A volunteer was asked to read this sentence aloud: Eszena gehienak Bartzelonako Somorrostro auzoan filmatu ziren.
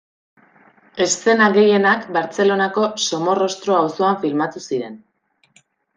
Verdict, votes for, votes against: rejected, 1, 2